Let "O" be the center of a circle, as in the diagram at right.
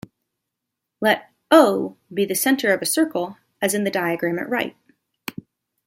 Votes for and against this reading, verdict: 1, 2, rejected